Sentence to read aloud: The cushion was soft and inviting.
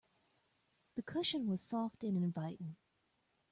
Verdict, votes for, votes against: accepted, 2, 0